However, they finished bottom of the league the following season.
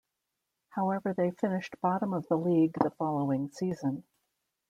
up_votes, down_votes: 2, 0